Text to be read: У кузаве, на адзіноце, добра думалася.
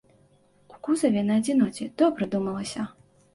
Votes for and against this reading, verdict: 2, 0, accepted